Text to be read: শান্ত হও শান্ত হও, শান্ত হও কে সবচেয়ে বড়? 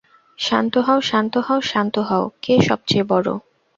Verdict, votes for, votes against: accepted, 2, 0